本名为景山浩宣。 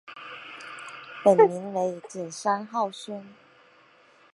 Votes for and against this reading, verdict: 7, 0, accepted